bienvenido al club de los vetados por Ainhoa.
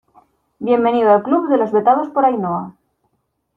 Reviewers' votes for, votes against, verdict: 2, 1, accepted